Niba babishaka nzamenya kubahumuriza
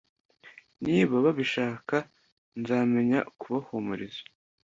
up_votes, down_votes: 2, 0